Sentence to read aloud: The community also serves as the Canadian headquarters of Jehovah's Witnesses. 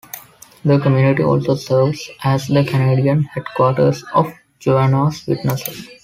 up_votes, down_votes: 0, 2